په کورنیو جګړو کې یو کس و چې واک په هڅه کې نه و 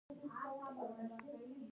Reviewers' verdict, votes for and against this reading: rejected, 0, 2